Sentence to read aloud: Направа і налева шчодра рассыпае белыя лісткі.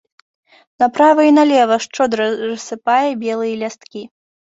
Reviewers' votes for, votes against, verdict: 0, 2, rejected